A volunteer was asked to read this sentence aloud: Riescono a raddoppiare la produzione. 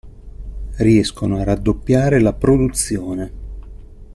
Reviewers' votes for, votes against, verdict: 2, 0, accepted